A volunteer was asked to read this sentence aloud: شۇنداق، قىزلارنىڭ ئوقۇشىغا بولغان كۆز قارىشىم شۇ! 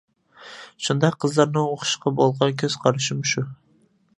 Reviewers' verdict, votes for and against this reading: rejected, 0, 2